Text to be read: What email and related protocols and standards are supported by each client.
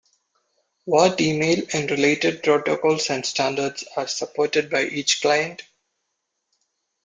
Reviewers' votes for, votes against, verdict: 2, 0, accepted